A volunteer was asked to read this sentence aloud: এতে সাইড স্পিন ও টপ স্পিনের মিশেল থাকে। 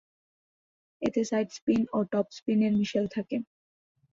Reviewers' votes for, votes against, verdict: 3, 0, accepted